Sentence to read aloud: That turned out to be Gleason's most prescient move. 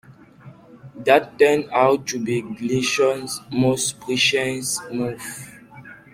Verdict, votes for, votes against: rejected, 1, 2